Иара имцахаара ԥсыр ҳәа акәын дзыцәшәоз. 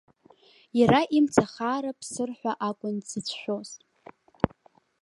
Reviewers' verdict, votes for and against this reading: accepted, 2, 0